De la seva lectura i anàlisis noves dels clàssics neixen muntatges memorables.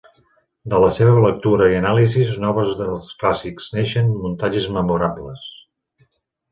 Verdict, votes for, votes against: rejected, 1, 2